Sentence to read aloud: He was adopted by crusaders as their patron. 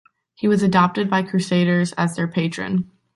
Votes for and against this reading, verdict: 2, 0, accepted